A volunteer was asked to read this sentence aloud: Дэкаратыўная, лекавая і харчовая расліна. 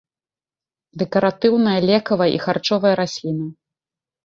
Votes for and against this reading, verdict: 2, 0, accepted